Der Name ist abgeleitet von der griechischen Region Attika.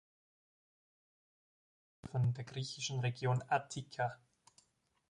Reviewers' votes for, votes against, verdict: 0, 2, rejected